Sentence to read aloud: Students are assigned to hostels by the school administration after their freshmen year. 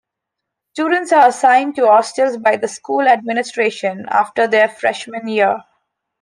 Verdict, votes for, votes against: accepted, 2, 0